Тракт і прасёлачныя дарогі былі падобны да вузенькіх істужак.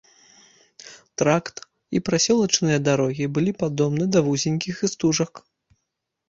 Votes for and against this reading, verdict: 2, 0, accepted